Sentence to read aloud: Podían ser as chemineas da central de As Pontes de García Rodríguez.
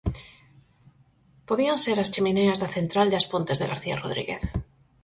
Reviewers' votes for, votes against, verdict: 4, 0, accepted